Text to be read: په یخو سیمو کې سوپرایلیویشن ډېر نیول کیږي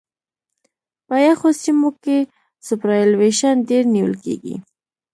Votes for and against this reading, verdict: 2, 0, accepted